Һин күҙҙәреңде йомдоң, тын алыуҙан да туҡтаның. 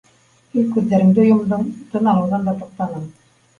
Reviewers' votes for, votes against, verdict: 0, 2, rejected